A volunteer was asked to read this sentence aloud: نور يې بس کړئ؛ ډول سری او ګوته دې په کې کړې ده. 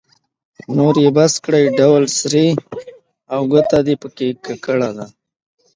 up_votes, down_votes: 2, 1